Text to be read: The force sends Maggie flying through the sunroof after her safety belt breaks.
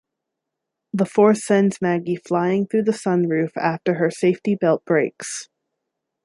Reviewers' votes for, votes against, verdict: 2, 0, accepted